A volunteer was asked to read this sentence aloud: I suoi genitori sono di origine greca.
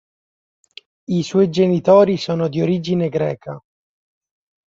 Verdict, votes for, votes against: accepted, 2, 0